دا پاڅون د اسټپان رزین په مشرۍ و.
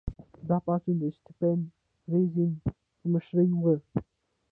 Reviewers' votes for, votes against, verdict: 0, 2, rejected